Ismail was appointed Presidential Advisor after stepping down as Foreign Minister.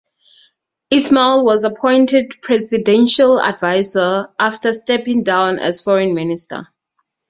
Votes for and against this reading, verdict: 4, 0, accepted